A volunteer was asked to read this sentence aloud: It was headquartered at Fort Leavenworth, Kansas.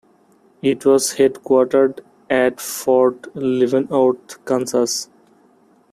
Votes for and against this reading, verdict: 0, 2, rejected